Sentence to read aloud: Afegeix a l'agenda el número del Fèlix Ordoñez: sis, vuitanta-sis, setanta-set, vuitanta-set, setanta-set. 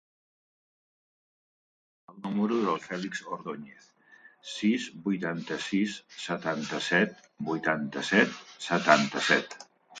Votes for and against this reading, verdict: 1, 2, rejected